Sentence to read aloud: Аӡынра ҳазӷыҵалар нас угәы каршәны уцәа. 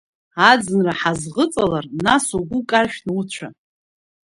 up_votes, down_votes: 2, 0